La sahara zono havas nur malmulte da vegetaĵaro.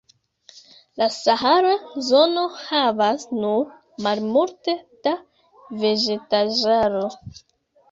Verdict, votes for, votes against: accepted, 2, 0